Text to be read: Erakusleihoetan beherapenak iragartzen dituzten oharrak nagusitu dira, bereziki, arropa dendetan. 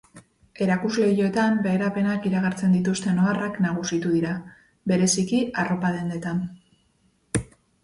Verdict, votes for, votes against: accepted, 2, 0